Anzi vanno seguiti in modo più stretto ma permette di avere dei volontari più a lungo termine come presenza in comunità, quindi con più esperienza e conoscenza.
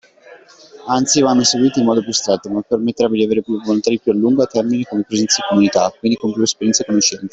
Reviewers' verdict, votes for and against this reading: accepted, 2, 1